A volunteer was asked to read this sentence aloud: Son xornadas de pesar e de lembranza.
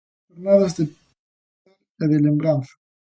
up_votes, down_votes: 0, 2